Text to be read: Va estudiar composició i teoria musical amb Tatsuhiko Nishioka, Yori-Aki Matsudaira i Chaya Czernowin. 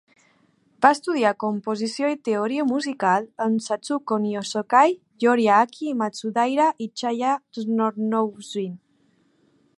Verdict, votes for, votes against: rejected, 0, 2